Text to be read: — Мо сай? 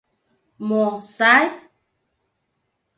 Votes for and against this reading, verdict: 2, 0, accepted